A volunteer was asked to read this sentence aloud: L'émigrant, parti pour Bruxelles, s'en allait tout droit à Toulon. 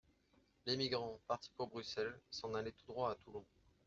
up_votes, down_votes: 2, 1